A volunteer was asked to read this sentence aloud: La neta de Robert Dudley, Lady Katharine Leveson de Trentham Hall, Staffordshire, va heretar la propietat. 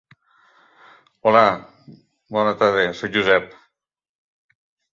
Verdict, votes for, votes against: rejected, 0, 2